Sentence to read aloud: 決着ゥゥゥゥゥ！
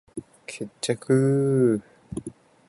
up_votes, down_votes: 4, 0